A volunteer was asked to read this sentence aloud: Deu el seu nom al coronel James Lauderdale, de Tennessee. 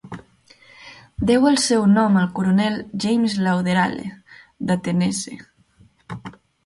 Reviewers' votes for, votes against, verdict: 1, 2, rejected